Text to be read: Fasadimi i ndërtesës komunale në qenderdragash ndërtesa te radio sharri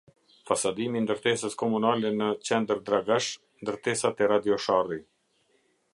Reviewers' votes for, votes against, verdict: 1, 2, rejected